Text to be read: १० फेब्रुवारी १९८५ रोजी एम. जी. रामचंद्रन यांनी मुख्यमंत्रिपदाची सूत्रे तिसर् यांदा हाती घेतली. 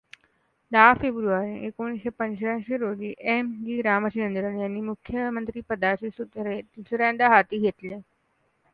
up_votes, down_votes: 0, 2